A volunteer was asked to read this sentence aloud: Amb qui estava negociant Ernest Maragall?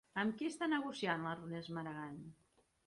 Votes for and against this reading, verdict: 1, 2, rejected